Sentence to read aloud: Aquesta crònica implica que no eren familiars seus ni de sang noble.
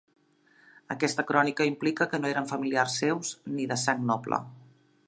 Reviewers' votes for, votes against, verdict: 3, 0, accepted